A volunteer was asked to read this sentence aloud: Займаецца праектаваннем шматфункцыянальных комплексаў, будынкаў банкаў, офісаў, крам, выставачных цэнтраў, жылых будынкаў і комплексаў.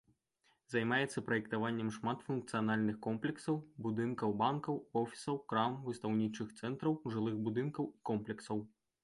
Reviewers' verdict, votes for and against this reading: rejected, 1, 2